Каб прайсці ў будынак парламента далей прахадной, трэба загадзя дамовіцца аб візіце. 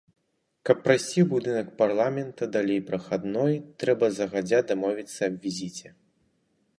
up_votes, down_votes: 2, 2